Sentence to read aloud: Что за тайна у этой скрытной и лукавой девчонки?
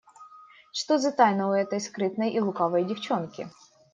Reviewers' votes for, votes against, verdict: 2, 0, accepted